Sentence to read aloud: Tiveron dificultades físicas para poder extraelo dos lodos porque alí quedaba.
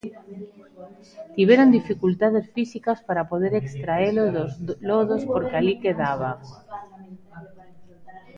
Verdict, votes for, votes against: rejected, 0, 3